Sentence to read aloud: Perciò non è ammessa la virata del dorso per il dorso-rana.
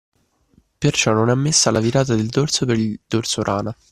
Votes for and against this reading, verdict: 1, 2, rejected